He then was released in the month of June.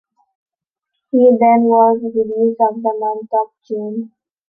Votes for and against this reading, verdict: 3, 2, accepted